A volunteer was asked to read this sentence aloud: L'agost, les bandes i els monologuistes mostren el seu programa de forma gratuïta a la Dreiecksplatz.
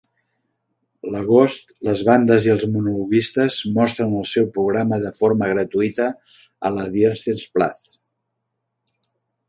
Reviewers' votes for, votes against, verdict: 2, 1, accepted